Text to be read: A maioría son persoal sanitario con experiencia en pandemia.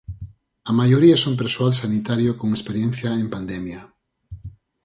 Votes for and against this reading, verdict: 4, 0, accepted